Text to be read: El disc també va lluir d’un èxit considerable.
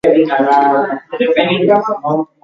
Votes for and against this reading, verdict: 0, 2, rejected